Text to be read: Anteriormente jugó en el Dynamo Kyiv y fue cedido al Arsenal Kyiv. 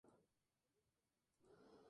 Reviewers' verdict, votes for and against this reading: rejected, 0, 4